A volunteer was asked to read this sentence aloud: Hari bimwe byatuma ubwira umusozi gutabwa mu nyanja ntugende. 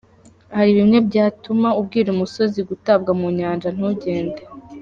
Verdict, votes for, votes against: rejected, 1, 2